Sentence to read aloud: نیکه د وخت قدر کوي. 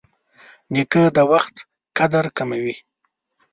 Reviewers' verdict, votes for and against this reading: rejected, 1, 2